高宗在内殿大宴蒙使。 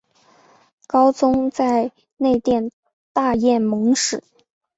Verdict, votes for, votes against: accepted, 2, 0